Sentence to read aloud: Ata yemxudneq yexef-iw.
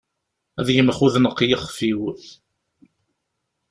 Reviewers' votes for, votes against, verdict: 2, 0, accepted